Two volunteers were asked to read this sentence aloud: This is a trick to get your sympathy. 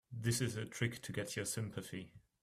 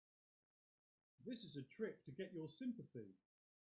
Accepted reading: first